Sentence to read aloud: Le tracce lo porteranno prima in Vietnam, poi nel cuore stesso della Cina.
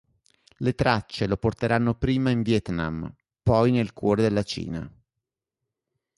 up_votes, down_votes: 0, 2